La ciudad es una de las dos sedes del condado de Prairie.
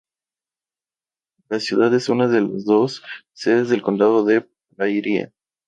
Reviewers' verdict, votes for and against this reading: rejected, 2, 2